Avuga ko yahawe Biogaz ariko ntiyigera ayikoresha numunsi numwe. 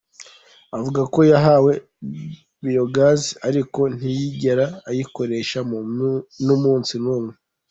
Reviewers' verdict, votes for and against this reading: rejected, 1, 2